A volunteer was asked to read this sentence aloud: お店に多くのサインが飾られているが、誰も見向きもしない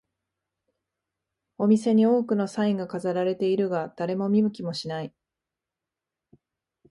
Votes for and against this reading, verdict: 2, 0, accepted